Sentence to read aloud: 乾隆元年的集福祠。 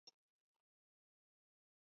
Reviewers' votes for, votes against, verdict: 1, 3, rejected